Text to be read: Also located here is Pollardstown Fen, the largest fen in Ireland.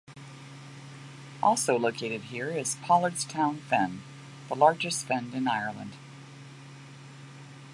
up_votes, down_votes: 2, 0